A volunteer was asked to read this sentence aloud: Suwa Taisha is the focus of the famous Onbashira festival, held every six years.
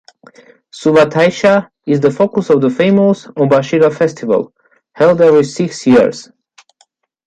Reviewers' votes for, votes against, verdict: 1, 2, rejected